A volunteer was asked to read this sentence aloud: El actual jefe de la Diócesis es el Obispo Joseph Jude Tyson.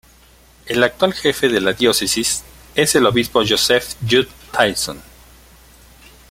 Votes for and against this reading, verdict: 2, 0, accepted